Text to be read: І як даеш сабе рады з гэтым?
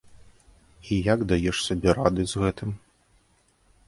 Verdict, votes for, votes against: accepted, 2, 0